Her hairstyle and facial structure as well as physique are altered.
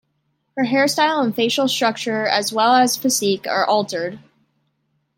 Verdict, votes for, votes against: accepted, 2, 0